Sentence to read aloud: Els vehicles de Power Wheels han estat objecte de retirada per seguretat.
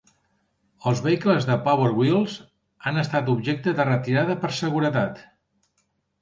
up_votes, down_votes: 3, 0